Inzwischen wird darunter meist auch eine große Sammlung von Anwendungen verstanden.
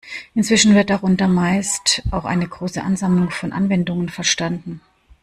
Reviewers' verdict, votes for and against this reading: rejected, 1, 2